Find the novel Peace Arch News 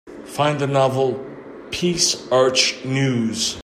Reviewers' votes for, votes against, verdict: 2, 0, accepted